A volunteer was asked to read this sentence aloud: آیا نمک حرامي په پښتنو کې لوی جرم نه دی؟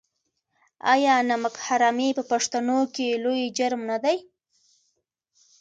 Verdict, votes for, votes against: accepted, 3, 0